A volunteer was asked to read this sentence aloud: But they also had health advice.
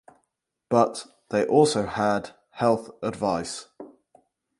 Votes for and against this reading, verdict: 2, 2, rejected